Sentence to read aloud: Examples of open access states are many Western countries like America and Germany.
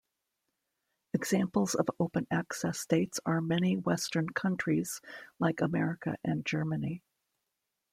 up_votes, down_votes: 2, 1